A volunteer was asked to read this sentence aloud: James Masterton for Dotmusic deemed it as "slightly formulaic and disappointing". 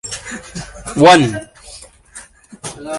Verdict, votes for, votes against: rejected, 0, 3